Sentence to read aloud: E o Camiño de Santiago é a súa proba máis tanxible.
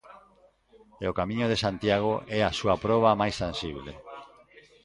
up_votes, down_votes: 2, 0